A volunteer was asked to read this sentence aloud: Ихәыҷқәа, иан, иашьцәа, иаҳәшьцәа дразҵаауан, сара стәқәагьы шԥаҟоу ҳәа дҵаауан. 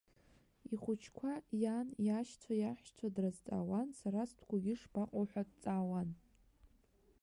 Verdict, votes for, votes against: rejected, 0, 2